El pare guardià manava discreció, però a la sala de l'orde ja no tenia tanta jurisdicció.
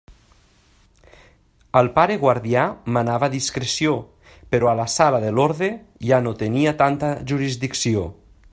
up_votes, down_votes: 3, 0